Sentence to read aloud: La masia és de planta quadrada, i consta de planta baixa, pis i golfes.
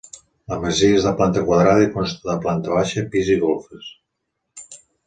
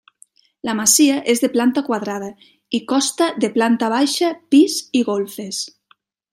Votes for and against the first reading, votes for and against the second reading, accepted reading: 3, 0, 1, 2, first